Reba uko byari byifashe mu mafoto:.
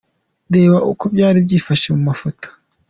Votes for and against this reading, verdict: 2, 0, accepted